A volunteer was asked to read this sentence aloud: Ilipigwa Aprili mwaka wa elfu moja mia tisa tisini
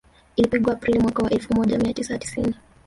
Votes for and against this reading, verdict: 2, 0, accepted